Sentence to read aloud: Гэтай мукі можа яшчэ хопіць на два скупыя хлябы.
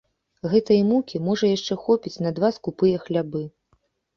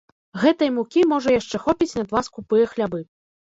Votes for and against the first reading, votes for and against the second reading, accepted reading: 1, 2, 2, 0, second